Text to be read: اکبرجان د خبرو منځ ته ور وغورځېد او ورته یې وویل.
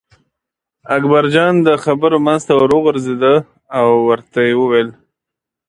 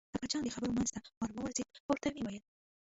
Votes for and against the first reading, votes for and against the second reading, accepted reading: 2, 0, 0, 2, first